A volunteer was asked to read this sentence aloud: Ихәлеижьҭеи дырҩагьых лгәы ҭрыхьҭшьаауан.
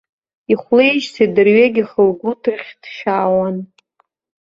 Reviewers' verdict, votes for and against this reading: rejected, 1, 2